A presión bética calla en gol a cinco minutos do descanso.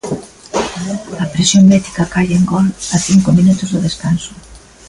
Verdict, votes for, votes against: rejected, 1, 2